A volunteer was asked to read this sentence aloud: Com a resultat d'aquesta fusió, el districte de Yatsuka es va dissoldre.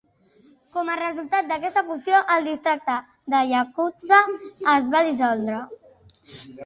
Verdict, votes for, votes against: rejected, 0, 2